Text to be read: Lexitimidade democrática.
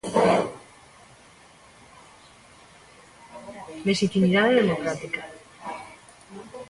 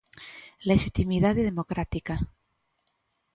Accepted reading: second